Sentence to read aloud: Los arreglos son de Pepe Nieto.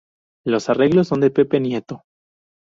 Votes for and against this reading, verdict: 2, 0, accepted